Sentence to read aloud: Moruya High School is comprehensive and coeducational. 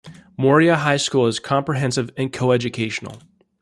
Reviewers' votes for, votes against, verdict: 0, 2, rejected